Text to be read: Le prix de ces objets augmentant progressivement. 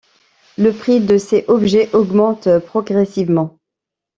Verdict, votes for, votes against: rejected, 0, 2